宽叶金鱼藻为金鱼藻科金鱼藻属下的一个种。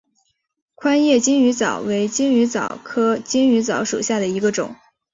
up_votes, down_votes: 5, 0